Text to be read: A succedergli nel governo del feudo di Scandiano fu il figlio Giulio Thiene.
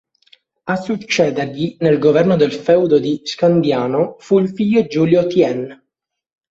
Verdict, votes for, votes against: rejected, 0, 2